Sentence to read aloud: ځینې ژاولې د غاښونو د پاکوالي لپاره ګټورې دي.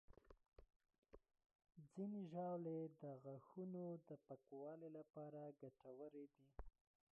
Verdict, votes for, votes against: rejected, 1, 2